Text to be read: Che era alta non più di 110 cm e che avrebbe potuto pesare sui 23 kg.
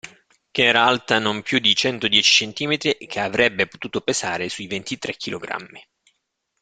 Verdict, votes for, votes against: rejected, 0, 2